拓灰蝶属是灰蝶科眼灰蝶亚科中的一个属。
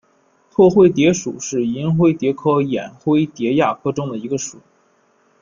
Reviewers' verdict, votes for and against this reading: rejected, 1, 2